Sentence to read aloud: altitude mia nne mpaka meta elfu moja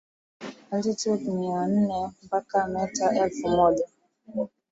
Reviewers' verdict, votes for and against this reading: accepted, 5, 2